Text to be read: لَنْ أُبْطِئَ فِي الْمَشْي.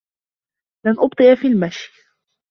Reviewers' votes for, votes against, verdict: 2, 1, accepted